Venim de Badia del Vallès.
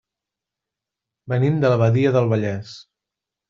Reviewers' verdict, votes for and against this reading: rejected, 0, 2